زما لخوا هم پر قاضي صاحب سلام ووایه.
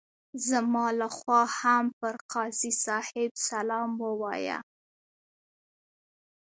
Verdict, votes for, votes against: accepted, 2, 0